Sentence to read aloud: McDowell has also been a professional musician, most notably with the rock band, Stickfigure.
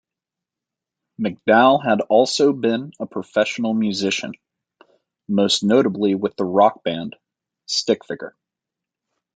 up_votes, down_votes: 2, 0